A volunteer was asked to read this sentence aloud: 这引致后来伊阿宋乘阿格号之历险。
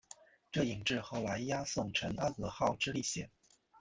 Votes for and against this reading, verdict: 2, 0, accepted